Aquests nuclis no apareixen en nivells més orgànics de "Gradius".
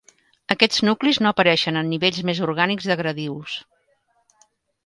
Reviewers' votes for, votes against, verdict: 3, 0, accepted